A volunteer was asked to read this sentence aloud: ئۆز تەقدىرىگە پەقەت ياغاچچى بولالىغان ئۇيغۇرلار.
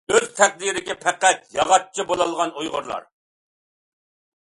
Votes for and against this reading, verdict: 2, 0, accepted